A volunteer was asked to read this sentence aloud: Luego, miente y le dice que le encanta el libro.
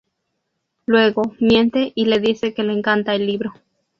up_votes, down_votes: 2, 0